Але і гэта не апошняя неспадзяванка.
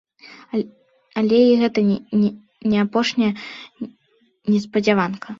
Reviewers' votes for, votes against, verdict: 1, 3, rejected